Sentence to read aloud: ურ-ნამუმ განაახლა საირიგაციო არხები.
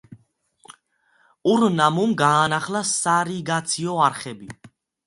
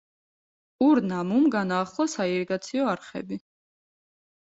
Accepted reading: second